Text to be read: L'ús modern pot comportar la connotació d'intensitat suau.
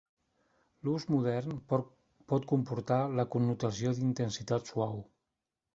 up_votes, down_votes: 0, 2